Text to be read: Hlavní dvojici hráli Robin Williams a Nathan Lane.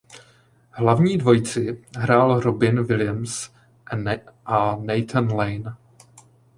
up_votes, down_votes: 0, 2